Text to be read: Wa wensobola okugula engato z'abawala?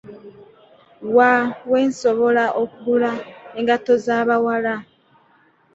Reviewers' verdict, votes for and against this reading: rejected, 1, 2